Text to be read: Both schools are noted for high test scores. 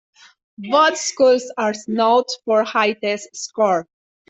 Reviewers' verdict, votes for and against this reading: rejected, 1, 2